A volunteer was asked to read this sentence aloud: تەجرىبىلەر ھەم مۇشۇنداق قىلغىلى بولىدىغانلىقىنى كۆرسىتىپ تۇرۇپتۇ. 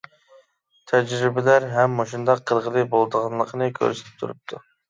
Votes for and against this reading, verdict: 2, 0, accepted